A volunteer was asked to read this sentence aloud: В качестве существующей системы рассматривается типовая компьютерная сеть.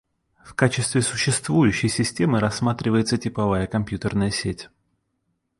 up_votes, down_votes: 2, 0